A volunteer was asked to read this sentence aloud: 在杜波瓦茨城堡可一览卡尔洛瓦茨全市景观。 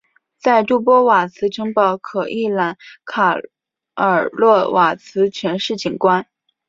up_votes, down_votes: 6, 0